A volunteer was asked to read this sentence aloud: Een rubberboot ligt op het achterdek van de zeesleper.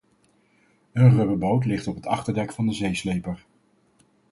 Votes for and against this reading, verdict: 4, 0, accepted